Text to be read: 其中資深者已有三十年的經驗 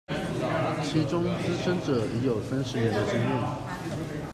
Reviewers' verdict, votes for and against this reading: rejected, 1, 2